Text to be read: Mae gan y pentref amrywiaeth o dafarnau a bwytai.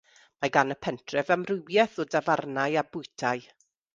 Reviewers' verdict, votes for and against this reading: rejected, 0, 2